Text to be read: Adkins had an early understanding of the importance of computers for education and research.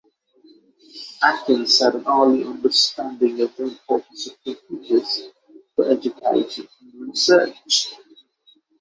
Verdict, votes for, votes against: rejected, 0, 6